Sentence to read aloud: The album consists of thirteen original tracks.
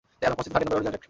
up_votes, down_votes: 0, 2